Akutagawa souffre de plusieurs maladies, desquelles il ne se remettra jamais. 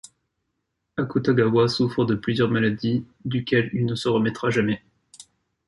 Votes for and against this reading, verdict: 1, 2, rejected